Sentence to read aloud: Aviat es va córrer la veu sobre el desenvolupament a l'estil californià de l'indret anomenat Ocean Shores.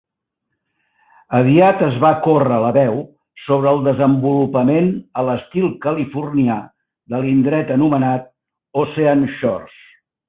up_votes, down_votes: 0, 2